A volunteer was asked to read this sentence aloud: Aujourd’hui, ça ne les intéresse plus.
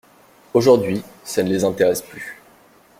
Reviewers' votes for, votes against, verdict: 2, 0, accepted